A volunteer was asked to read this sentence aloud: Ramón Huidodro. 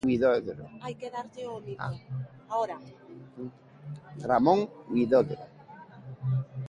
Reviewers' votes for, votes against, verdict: 0, 2, rejected